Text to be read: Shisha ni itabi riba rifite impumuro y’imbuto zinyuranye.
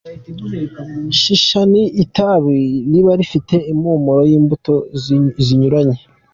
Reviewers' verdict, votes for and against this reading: accepted, 2, 1